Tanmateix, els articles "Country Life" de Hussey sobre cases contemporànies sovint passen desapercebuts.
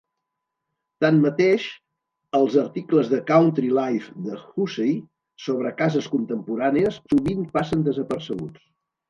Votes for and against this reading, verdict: 1, 2, rejected